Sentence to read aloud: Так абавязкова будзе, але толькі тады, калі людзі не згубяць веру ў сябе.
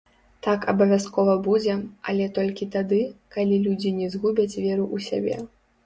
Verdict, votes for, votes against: rejected, 0, 2